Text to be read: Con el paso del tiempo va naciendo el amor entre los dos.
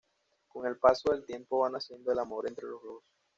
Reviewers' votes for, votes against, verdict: 2, 0, accepted